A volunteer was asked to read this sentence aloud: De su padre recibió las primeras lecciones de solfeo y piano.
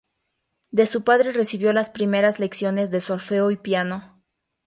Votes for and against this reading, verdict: 2, 0, accepted